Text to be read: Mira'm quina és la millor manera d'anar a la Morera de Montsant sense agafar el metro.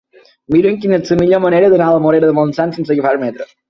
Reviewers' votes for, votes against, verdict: 2, 8, rejected